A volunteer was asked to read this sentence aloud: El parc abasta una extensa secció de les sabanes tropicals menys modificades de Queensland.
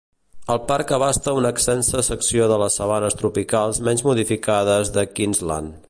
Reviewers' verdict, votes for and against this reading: rejected, 1, 2